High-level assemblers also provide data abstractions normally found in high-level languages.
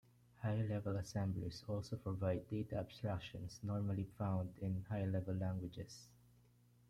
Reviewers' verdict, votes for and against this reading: rejected, 1, 2